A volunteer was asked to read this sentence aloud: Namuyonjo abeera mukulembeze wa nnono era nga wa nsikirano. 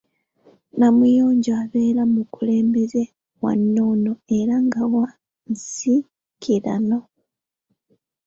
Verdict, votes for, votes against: rejected, 1, 2